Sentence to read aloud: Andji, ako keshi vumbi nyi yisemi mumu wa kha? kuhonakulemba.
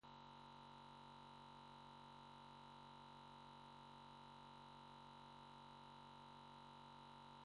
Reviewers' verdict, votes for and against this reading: rejected, 0, 2